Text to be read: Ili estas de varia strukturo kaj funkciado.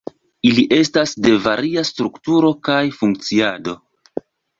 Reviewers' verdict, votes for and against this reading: rejected, 0, 2